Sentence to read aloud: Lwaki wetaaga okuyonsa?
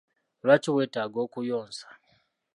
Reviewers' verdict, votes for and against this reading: accepted, 3, 0